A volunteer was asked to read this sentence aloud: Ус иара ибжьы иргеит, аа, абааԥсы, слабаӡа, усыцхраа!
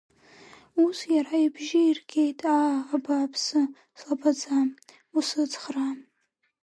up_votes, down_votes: 1, 2